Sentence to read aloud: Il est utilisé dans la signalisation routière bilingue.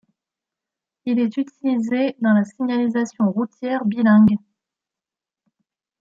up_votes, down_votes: 1, 2